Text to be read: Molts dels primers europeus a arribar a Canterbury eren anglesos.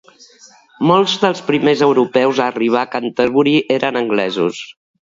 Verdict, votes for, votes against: accepted, 2, 0